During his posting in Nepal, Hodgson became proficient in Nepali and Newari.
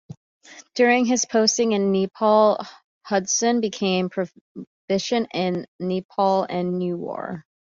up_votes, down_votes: 1, 2